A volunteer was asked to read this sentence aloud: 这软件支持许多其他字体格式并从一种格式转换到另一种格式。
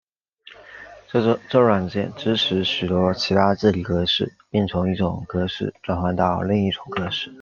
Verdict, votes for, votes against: rejected, 1, 2